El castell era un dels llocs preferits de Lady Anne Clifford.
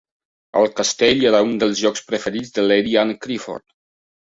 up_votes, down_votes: 2, 0